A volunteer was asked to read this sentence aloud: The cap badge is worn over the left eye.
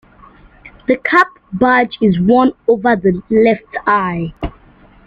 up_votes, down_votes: 2, 0